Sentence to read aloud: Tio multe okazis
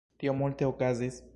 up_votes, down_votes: 2, 0